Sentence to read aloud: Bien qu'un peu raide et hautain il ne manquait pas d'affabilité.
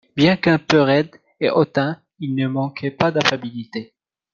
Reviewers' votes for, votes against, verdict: 2, 0, accepted